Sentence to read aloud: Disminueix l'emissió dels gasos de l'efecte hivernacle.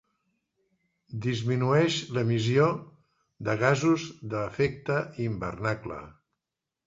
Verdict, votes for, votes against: rejected, 1, 2